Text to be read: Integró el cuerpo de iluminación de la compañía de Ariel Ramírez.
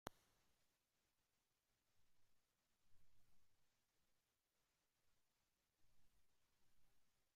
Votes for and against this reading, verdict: 0, 2, rejected